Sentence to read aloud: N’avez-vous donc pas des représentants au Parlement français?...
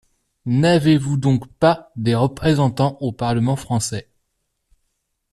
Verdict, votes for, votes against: accepted, 2, 0